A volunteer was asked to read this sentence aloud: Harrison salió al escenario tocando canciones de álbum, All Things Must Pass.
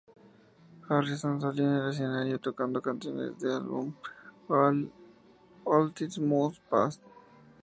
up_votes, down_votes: 0, 2